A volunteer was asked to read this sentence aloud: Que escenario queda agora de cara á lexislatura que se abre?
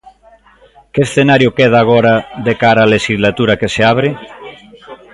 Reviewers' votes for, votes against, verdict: 2, 1, accepted